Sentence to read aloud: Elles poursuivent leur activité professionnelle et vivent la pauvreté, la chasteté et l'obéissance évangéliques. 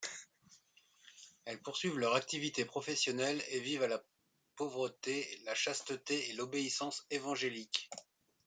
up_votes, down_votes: 1, 2